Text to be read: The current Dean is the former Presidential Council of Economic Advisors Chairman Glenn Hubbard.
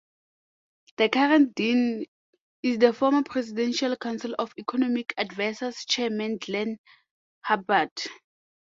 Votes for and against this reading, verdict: 0, 2, rejected